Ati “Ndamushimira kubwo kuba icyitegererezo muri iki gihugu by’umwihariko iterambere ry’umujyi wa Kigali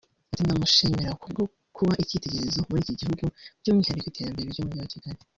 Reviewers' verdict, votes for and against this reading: rejected, 1, 2